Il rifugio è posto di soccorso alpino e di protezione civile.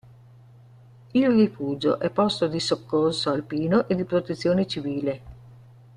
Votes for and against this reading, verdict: 2, 0, accepted